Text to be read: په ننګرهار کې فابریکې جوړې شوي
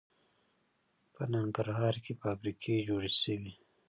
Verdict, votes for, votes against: rejected, 0, 2